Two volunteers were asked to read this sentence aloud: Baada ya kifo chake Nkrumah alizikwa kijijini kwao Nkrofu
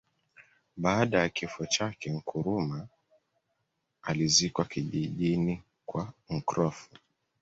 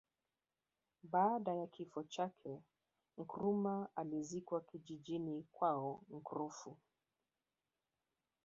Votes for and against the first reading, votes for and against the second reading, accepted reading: 2, 1, 1, 2, first